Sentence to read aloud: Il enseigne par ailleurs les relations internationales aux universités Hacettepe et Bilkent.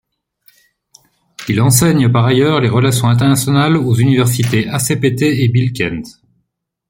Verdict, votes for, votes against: rejected, 1, 2